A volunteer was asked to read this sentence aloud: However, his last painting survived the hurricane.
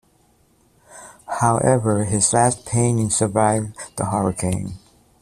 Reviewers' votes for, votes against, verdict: 2, 0, accepted